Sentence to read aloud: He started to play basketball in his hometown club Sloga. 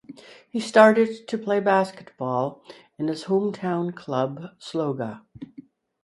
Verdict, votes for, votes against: accepted, 4, 0